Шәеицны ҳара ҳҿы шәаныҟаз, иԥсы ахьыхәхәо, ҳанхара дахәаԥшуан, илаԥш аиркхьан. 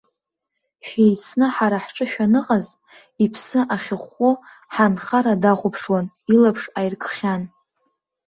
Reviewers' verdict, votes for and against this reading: accepted, 3, 0